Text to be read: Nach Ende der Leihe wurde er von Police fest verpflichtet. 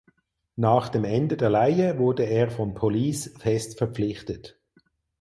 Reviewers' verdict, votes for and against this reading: rejected, 0, 4